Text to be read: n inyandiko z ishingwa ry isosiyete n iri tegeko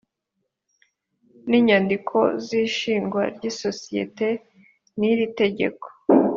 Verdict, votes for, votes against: accepted, 2, 0